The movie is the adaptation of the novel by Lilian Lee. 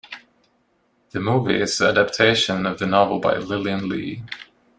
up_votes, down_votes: 3, 1